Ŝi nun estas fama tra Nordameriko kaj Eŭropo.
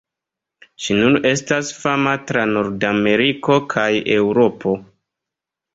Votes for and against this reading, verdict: 2, 0, accepted